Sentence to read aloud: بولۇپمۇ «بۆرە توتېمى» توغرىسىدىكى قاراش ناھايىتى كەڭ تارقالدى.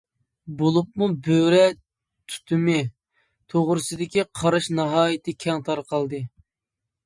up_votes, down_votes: 1, 2